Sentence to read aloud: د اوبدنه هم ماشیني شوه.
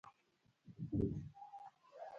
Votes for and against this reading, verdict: 0, 2, rejected